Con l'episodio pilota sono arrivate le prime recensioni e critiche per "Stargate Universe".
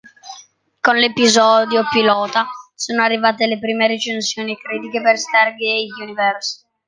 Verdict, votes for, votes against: rejected, 0, 2